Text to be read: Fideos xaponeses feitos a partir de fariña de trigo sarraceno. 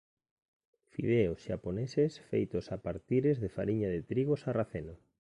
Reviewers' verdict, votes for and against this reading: rejected, 1, 2